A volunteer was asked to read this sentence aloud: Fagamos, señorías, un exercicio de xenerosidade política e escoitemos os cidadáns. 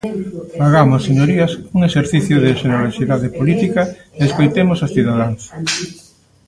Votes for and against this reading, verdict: 0, 2, rejected